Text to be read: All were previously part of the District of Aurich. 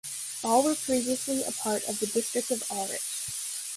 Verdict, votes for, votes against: accepted, 2, 1